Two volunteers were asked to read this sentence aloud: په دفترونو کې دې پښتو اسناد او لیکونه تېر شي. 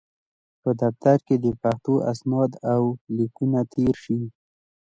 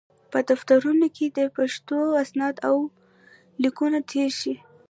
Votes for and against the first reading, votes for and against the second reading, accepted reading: 2, 0, 1, 2, first